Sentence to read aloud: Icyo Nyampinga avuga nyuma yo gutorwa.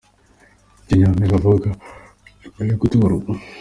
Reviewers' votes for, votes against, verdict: 2, 1, accepted